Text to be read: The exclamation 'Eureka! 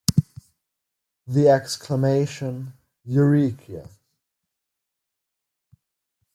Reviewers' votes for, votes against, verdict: 2, 1, accepted